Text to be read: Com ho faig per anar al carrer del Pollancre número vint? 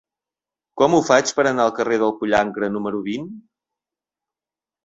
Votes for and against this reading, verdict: 2, 0, accepted